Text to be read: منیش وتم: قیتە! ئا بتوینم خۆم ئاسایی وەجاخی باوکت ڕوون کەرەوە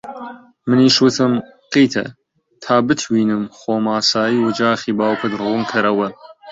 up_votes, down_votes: 0, 2